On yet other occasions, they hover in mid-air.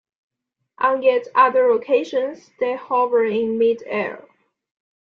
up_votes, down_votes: 2, 0